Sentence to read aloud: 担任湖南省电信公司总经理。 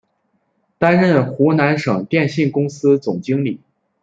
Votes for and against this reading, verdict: 2, 0, accepted